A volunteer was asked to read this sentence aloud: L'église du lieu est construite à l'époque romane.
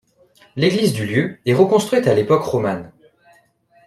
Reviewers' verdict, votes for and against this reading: rejected, 1, 2